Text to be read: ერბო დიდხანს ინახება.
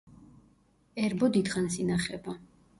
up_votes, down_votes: 2, 0